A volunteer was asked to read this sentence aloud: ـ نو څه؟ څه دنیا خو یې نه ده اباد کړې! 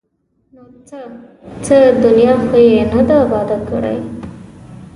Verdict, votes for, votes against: rejected, 1, 2